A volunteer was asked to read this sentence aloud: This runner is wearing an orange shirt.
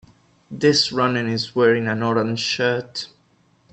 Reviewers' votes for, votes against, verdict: 2, 3, rejected